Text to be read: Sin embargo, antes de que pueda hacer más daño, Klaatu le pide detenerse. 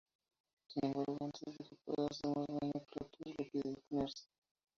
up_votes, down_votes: 0, 2